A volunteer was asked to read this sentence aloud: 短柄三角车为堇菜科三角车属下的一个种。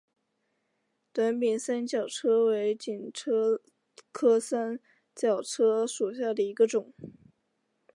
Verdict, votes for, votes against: accepted, 3, 2